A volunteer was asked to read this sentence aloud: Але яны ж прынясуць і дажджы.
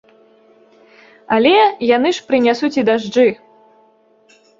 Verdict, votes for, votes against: accepted, 2, 0